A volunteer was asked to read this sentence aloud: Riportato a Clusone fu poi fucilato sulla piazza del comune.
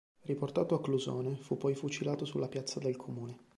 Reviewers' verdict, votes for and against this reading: accepted, 2, 0